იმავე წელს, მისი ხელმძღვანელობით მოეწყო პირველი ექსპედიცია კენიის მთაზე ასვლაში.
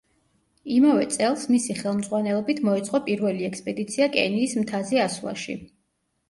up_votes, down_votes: 2, 0